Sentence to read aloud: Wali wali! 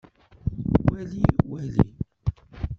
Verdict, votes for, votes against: rejected, 0, 2